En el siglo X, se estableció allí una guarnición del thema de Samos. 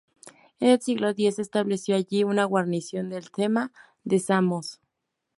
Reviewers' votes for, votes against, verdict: 0, 2, rejected